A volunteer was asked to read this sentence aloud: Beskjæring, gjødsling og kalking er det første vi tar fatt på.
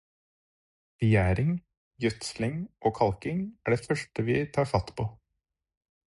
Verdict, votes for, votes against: rejected, 2, 4